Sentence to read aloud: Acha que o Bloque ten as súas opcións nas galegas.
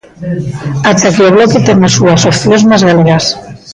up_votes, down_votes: 0, 2